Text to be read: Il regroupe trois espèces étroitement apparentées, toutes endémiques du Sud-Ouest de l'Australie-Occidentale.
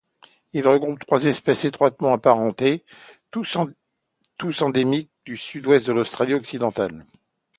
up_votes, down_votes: 0, 2